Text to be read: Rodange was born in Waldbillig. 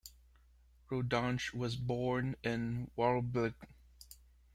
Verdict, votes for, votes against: rejected, 0, 2